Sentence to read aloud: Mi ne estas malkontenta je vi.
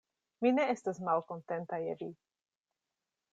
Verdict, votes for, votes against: accepted, 2, 0